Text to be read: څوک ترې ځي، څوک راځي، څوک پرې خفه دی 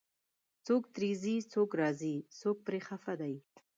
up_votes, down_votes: 1, 2